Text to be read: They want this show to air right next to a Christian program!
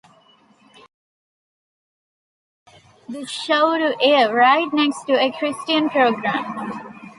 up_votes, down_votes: 0, 2